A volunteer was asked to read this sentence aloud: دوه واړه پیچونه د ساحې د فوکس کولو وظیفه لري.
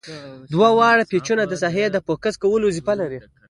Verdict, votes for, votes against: accepted, 2, 1